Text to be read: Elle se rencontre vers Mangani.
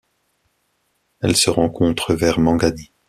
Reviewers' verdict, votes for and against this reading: accepted, 2, 0